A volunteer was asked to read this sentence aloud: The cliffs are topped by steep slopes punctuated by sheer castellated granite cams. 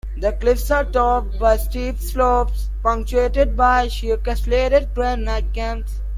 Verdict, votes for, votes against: accepted, 2, 1